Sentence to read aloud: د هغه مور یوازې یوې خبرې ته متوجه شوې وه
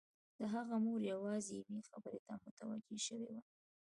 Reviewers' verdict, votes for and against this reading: accepted, 2, 0